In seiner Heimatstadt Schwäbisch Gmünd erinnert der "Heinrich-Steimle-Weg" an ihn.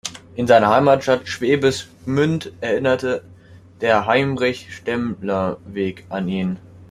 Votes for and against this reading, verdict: 0, 2, rejected